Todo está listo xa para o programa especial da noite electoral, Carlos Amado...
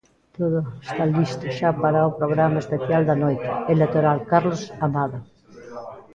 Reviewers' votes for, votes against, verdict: 0, 2, rejected